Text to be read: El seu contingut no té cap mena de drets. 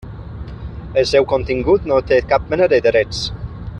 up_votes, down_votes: 0, 2